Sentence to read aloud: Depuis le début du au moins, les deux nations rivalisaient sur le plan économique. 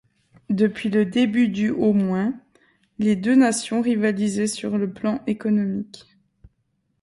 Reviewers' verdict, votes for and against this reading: accepted, 2, 0